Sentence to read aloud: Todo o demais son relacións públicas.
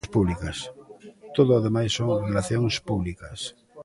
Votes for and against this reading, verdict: 0, 2, rejected